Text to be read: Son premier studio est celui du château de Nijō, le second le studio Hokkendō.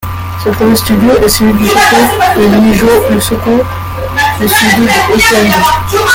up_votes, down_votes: 0, 2